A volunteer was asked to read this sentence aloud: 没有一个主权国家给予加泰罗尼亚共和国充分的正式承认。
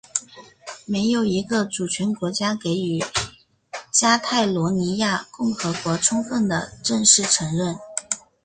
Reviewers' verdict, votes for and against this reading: accepted, 6, 1